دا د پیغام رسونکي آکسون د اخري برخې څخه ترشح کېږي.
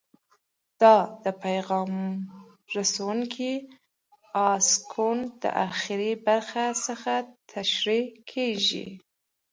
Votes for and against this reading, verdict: 1, 2, rejected